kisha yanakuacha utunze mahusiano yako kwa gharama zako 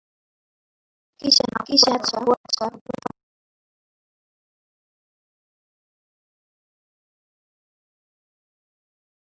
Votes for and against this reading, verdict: 0, 2, rejected